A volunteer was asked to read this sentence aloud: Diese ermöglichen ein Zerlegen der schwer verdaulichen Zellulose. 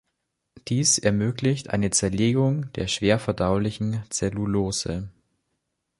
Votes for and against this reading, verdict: 0, 2, rejected